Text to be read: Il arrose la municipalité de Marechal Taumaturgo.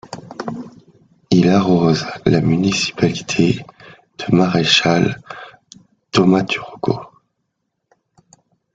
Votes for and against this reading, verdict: 2, 0, accepted